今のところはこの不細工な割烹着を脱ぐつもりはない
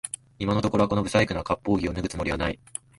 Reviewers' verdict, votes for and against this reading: rejected, 0, 2